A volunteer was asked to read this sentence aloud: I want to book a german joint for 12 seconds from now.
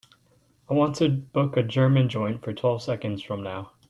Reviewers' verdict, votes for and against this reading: rejected, 0, 2